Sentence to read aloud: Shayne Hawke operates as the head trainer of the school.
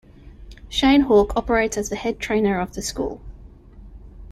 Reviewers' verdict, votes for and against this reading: accepted, 2, 0